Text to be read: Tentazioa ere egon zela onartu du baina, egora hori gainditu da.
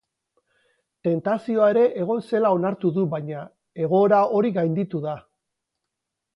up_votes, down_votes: 0, 2